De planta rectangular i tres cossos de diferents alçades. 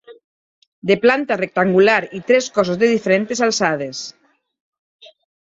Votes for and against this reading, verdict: 1, 2, rejected